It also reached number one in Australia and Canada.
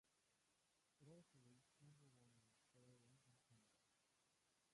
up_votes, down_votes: 0, 2